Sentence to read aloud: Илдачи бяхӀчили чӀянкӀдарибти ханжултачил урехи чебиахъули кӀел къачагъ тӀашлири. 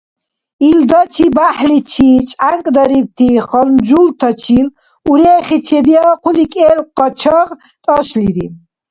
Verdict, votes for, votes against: rejected, 1, 2